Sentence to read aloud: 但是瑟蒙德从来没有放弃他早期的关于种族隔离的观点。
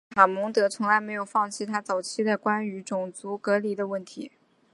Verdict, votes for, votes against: rejected, 0, 2